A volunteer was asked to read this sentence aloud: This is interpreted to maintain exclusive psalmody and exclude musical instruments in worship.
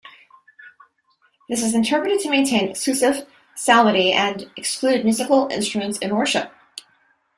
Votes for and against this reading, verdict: 1, 2, rejected